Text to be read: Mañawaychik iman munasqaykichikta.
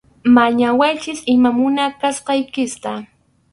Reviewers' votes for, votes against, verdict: 2, 2, rejected